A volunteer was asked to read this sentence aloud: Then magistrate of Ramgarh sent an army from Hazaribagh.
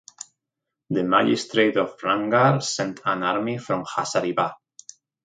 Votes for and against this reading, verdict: 2, 0, accepted